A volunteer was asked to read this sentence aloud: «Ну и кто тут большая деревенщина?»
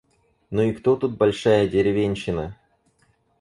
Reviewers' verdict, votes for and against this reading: accepted, 4, 0